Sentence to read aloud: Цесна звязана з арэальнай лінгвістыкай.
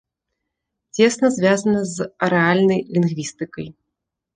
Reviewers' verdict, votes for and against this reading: accepted, 2, 0